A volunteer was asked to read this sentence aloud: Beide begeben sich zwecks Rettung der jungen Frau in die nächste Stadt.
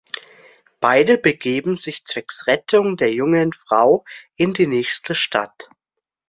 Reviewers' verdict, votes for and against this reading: accepted, 2, 0